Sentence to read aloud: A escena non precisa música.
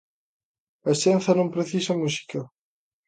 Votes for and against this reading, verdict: 0, 2, rejected